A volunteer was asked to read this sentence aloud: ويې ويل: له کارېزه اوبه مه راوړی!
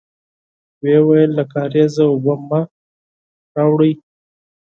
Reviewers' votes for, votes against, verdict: 4, 0, accepted